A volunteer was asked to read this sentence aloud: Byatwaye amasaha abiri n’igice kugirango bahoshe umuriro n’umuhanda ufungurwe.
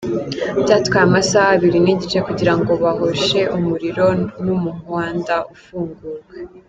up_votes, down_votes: 0, 2